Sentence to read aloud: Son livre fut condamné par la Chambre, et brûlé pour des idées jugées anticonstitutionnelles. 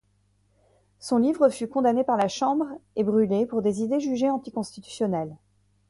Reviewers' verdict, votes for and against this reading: accepted, 2, 0